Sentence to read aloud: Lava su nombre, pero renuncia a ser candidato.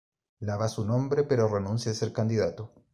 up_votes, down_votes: 2, 0